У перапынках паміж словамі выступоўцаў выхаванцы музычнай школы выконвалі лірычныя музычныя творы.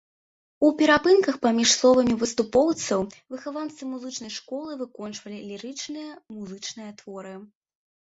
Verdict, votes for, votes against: rejected, 1, 2